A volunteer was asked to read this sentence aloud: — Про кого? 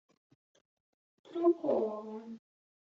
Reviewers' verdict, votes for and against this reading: rejected, 1, 2